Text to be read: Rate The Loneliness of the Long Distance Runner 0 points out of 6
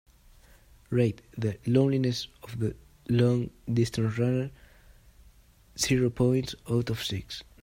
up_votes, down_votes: 0, 2